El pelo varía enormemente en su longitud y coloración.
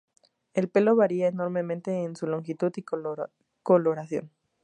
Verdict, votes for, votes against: rejected, 0, 2